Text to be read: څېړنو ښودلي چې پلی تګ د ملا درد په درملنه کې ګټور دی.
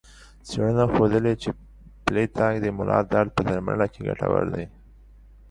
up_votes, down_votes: 1, 2